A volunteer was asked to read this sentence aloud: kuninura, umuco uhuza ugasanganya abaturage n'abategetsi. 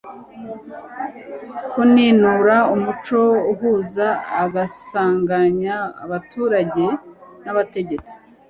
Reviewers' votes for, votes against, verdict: 1, 2, rejected